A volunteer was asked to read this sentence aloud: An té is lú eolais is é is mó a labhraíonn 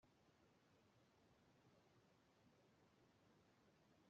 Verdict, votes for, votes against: rejected, 0, 2